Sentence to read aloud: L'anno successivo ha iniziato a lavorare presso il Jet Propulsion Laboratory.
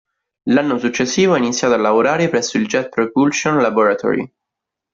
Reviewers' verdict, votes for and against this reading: rejected, 1, 2